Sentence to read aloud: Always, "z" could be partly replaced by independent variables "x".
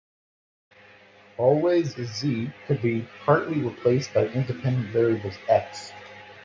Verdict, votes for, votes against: accepted, 2, 0